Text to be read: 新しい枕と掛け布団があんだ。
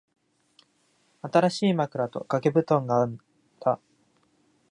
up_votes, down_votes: 0, 3